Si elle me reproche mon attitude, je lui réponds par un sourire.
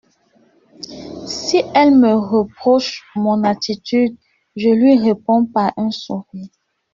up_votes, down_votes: 1, 2